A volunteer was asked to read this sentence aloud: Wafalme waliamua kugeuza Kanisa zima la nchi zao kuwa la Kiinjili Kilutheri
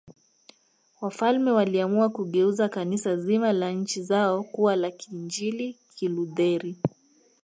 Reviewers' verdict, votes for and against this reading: accepted, 2, 0